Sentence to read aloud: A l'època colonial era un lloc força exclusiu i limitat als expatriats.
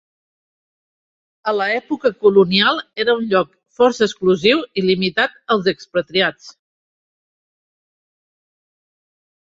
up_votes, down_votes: 2, 1